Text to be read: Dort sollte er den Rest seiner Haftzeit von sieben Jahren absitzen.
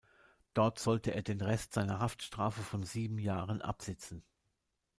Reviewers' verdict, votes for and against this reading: rejected, 1, 2